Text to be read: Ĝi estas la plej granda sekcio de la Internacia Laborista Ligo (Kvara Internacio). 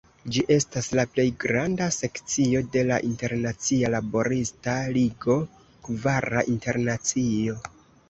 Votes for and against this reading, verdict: 2, 0, accepted